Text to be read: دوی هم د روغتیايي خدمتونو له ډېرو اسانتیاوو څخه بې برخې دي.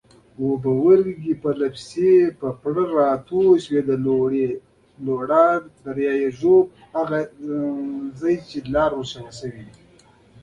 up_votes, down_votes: 2, 1